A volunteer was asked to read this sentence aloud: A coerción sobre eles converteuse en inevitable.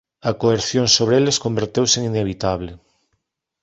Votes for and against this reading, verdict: 2, 1, accepted